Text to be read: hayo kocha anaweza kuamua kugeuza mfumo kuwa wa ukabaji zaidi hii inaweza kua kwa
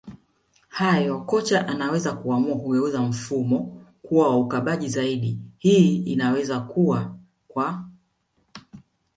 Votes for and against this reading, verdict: 3, 1, accepted